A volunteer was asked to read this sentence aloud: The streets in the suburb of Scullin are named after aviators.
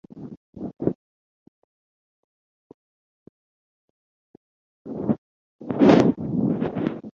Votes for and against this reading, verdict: 0, 2, rejected